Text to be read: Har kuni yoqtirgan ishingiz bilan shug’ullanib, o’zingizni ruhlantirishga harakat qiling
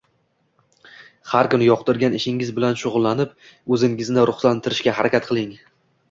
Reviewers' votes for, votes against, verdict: 2, 0, accepted